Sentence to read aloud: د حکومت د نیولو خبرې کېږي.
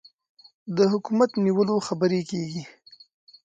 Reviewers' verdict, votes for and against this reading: accepted, 2, 0